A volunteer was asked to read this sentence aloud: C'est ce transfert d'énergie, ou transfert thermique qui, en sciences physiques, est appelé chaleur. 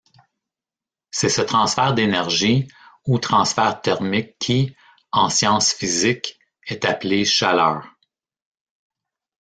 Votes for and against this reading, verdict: 1, 2, rejected